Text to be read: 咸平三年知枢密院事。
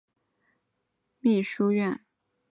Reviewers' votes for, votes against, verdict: 2, 4, rejected